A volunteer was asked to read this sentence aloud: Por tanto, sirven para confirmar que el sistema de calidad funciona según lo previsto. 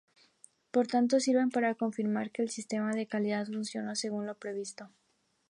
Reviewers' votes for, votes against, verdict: 2, 0, accepted